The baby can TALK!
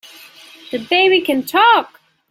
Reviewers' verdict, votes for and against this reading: accepted, 3, 0